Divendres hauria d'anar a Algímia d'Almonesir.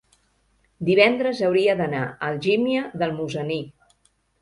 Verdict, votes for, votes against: rejected, 0, 2